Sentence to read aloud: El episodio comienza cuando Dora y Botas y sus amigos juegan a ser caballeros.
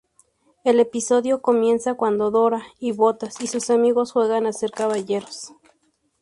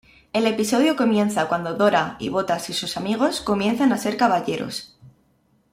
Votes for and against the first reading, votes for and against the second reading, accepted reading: 2, 0, 0, 2, first